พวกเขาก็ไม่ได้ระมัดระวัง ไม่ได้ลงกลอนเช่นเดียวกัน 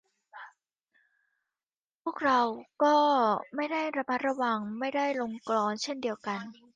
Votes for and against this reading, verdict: 0, 2, rejected